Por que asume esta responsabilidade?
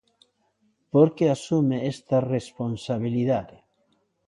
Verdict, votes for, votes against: accepted, 2, 0